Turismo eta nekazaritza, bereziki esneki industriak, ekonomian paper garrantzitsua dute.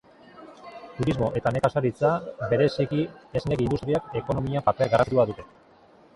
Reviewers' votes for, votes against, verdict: 0, 3, rejected